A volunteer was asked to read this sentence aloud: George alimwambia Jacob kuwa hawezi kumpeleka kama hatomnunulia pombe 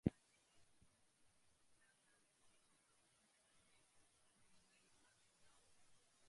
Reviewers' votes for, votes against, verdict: 0, 2, rejected